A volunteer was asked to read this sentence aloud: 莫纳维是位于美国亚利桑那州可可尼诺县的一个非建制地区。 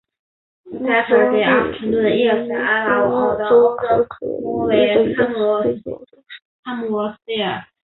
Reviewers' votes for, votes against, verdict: 0, 2, rejected